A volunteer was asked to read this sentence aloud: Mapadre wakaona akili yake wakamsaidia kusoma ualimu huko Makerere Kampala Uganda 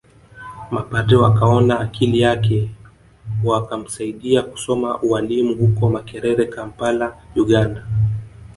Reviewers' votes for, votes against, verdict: 0, 2, rejected